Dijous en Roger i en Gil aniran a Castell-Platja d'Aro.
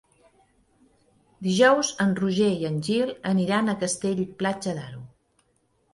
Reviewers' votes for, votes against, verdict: 2, 0, accepted